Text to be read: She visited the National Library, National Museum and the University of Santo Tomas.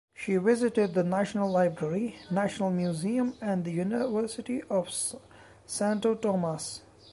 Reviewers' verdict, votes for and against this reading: rejected, 0, 2